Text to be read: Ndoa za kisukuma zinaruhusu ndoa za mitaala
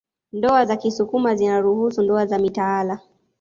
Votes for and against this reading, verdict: 2, 1, accepted